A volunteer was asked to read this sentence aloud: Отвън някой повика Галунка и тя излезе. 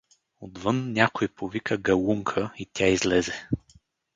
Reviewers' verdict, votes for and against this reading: accepted, 4, 0